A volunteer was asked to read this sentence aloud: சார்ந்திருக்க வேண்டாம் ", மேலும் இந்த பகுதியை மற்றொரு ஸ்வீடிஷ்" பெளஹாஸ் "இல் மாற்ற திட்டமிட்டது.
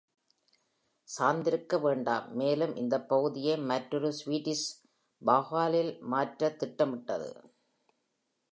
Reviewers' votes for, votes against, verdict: 1, 2, rejected